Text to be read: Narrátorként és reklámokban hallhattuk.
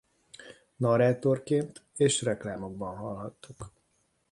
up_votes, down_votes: 2, 0